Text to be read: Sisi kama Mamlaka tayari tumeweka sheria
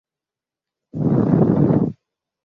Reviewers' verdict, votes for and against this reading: rejected, 0, 2